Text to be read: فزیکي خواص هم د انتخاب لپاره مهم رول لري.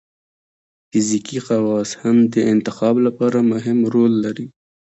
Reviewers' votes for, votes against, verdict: 1, 2, rejected